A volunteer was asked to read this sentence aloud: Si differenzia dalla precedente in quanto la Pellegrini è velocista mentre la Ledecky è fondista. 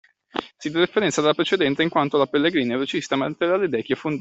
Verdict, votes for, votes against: accepted, 2, 1